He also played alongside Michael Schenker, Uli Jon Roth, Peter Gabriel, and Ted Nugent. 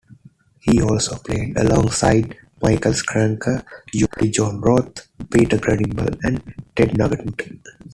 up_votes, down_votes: 1, 2